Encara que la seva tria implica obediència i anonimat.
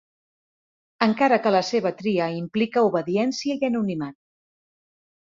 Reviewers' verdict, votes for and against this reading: accepted, 2, 0